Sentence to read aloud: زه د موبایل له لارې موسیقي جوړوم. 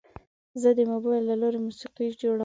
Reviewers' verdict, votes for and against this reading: rejected, 0, 2